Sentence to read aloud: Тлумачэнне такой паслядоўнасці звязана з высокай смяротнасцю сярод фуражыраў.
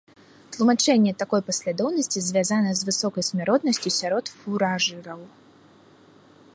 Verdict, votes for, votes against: rejected, 1, 2